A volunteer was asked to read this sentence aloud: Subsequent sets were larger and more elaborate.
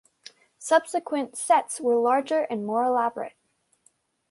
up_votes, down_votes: 2, 0